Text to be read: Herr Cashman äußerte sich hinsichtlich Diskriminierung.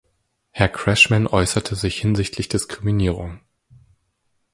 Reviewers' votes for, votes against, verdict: 0, 2, rejected